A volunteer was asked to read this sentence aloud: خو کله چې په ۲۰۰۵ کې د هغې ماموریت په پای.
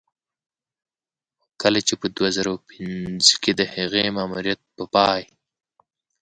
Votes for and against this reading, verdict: 0, 2, rejected